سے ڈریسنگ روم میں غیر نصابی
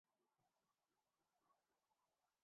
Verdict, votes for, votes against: rejected, 0, 2